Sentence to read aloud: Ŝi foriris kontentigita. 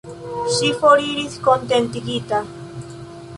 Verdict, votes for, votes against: accepted, 2, 0